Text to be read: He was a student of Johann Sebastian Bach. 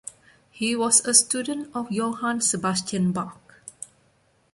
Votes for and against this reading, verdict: 1, 2, rejected